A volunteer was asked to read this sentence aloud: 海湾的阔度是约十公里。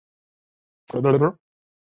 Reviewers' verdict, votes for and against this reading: rejected, 1, 8